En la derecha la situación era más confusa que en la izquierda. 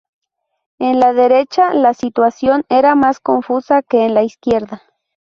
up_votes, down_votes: 4, 0